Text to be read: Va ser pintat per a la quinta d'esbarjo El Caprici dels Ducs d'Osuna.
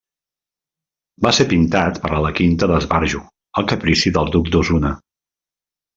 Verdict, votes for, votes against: rejected, 1, 2